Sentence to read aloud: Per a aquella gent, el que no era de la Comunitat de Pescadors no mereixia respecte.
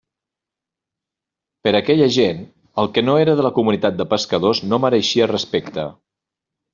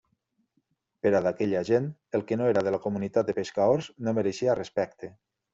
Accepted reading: first